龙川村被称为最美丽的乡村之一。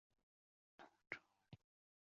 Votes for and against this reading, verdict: 2, 4, rejected